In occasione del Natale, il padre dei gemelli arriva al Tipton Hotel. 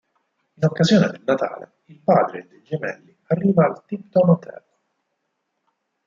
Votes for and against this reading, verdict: 0, 4, rejected